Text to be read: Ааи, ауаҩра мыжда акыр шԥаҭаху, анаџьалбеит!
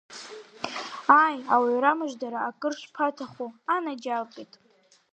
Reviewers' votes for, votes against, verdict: 2, 3, rejected